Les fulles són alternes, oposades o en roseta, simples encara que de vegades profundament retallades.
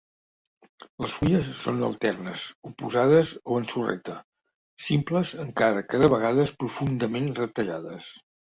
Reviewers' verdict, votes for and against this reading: rejected, 1, 2